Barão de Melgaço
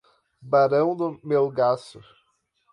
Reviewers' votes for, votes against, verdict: 0, 4, rejected